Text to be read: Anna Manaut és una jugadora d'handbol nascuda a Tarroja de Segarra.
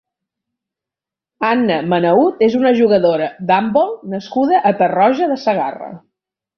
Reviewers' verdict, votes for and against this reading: accepted, 3, 0